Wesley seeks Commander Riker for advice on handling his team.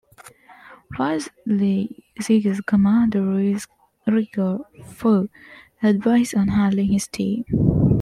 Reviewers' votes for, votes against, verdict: 2, 1, accepted